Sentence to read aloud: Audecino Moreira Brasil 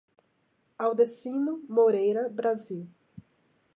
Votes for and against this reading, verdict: 2, 0, accepted